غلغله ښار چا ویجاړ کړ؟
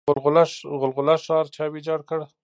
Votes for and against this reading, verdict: 2, 0, accepted